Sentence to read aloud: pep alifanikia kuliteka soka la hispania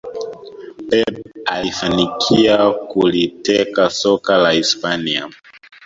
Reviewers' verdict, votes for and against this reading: rejected, 1, 2